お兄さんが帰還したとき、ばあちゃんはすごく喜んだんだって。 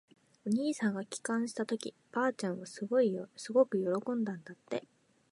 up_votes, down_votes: 2, 3